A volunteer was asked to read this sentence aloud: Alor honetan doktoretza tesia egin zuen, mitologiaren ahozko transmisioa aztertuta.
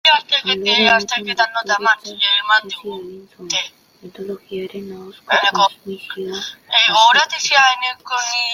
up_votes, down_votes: 0, 2